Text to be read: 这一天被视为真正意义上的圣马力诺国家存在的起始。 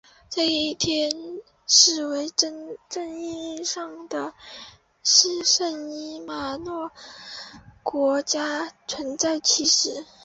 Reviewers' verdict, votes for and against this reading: rejected, 0, 3